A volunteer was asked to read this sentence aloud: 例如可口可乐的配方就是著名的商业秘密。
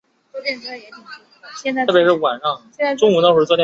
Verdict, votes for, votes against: rejected, 0, 2